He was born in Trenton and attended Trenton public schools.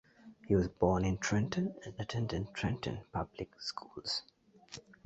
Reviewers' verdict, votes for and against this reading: accepted, 2, 0